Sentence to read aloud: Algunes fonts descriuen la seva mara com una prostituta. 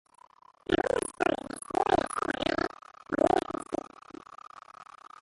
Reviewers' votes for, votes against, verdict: 0, 3, rejected